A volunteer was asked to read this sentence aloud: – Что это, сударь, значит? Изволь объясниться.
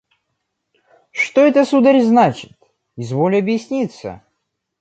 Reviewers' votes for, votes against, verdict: 2, 0, accepted